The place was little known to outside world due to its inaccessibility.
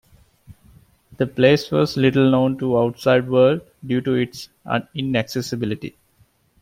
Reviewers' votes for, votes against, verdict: 1, 2, rejected